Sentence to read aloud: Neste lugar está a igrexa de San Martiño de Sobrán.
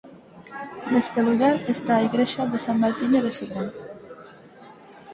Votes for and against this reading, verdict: 4, 0, accepted